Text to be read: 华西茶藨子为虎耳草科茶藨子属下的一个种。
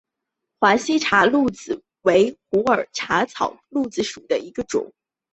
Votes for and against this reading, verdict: 1, 3, rejected